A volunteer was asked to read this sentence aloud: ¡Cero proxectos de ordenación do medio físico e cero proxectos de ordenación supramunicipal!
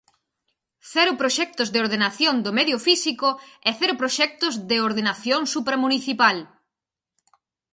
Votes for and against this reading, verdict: 4, 0, accepted